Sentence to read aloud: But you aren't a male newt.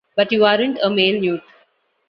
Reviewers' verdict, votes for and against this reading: accepted, 2, 1